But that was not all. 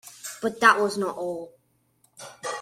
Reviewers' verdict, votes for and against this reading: accepted, 2, 0